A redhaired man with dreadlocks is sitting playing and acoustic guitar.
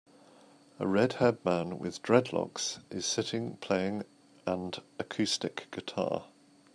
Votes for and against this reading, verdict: 2, 0, accepted